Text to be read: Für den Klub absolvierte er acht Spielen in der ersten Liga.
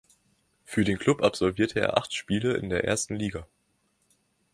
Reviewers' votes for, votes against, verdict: 1, 2, rejected